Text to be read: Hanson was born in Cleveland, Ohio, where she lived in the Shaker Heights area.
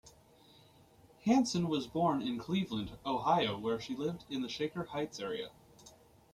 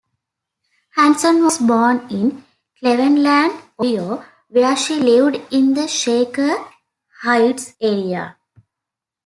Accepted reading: first